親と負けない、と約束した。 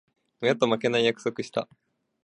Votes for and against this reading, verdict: 2, 1, accepted